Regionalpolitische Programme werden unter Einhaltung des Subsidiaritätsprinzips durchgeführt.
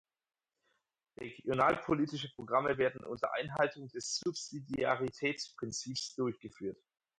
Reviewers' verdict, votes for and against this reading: rejected, 0, 4